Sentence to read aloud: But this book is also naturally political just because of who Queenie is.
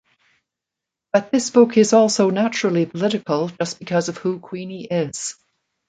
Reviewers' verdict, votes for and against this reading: accepted, 2, 0